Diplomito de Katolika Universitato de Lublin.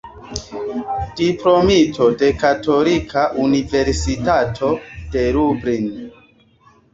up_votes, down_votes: 2, 0